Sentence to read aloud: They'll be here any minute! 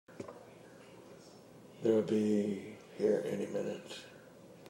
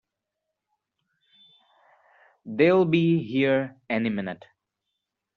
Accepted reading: second